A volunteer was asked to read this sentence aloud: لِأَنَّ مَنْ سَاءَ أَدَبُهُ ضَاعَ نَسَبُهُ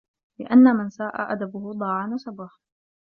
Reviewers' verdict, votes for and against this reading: accepted, 2, 0